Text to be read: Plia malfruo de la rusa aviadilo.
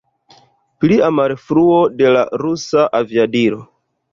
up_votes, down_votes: 2, 0